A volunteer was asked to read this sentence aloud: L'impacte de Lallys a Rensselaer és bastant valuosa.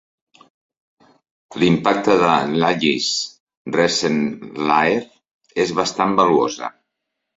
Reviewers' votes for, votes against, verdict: 0, 5, rejected